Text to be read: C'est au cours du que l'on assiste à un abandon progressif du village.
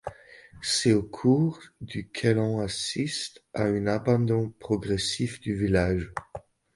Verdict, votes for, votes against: accepted, 2, 0